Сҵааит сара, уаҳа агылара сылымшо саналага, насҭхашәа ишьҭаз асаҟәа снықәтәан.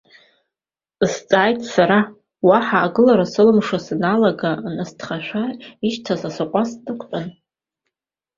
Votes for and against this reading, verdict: 1, 2, rejected